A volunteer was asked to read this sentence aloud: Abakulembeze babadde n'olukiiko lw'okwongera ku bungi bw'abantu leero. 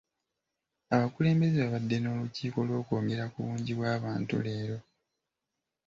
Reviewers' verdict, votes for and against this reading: rejected, 1, 2